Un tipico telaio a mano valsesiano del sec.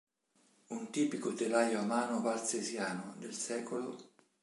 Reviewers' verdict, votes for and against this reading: rejected, 1, 2